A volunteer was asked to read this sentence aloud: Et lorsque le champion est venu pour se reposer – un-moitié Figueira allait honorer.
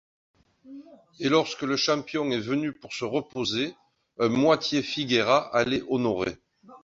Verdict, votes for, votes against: accepted, 2, 0